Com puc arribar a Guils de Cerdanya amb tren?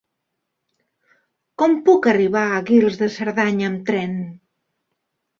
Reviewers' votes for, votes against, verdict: 2, 0, accepted